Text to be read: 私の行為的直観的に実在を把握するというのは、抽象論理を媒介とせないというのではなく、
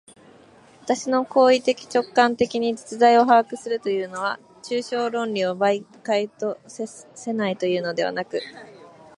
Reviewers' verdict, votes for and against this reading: accepted, 2, 0